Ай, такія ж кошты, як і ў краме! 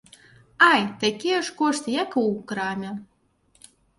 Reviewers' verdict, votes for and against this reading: accepted, 2, 0